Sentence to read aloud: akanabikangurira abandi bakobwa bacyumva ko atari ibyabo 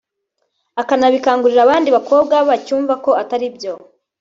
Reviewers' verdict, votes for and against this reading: rejected, 1, 2